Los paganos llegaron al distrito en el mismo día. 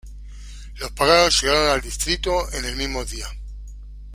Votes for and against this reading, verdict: 2, 1, accepted